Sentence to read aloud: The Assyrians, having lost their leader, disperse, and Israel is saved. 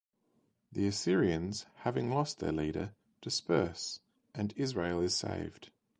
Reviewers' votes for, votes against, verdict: 2, 0, accepted